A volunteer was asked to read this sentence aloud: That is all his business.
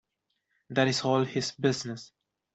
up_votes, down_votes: 1, 2